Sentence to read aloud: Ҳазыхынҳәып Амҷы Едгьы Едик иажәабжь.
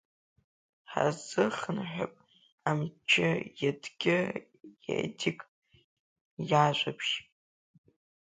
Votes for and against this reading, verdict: 0, 2, rejected